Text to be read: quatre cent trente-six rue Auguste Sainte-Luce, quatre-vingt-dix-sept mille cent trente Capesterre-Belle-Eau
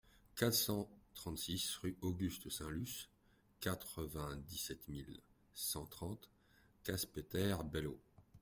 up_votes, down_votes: 1, 2